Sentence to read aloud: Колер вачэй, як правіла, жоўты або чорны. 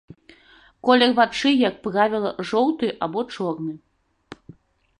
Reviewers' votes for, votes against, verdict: 2, 1, accepted